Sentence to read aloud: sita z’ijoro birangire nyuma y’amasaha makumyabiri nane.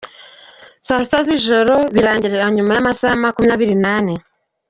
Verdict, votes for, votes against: accepted, 2, 1